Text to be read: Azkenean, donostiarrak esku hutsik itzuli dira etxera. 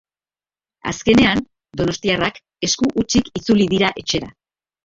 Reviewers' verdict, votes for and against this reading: accepted, 4, 0